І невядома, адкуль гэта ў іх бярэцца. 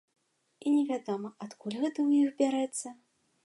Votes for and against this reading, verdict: 2, 0, accepted